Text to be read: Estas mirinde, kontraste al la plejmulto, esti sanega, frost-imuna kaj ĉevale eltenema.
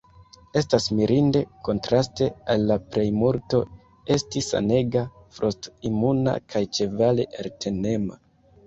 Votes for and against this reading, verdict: 1, 2, rejected